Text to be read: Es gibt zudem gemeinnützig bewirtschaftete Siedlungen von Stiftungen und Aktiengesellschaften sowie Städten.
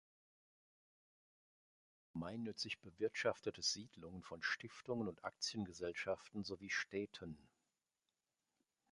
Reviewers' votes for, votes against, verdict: 0, 2, rejected